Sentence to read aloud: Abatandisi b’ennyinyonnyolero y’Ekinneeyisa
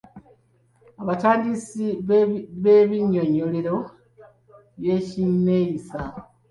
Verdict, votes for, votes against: accepted, 2, 0